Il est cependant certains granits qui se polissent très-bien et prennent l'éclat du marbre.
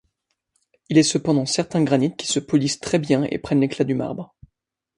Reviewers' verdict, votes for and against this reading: accepted, 2, 0